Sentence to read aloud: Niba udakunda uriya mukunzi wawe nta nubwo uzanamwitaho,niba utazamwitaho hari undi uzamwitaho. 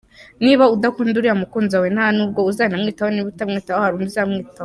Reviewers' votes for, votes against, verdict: 2, 0, accepted